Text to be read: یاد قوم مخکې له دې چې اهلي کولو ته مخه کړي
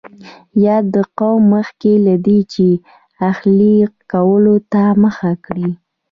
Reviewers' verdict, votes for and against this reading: rejected, 1, 2